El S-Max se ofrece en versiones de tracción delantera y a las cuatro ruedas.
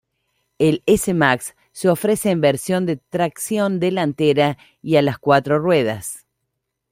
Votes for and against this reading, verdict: 1, 2, rejected